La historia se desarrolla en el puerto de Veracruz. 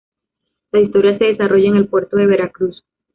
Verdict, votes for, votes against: accepted, 2, 0